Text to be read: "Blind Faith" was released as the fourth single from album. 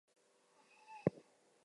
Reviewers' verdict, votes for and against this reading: rejected, 0, 4